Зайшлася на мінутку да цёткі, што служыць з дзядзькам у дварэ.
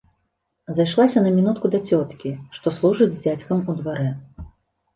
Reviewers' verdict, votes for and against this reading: accepted, 2, 0